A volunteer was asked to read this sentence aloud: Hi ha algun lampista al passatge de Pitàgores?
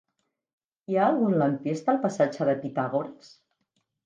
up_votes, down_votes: 2, 0